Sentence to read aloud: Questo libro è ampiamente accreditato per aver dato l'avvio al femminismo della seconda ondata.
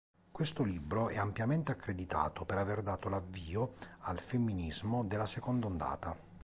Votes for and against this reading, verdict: 2, 0, accepted